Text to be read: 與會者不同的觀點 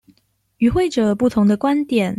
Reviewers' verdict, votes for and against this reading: accepted, 2, 0